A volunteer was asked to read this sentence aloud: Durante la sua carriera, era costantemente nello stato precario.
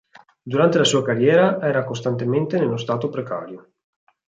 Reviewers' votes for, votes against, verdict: 2, 0, accepted